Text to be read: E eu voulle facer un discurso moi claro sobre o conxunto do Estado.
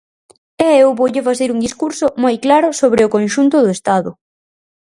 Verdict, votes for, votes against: accepted, 4, 0